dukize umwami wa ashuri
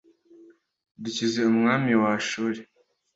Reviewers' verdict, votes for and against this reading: accepted, 2, 0